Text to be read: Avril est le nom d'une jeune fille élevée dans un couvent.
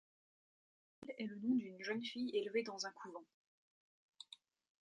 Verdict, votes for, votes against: rejected, 0, 2